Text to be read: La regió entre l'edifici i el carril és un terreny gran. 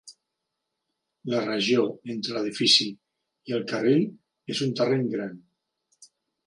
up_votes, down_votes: 2, 0